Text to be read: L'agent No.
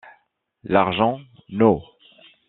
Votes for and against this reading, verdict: 1, 2, rejected